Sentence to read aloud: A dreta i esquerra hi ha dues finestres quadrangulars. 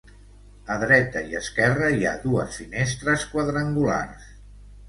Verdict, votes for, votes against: accepted, 2, 0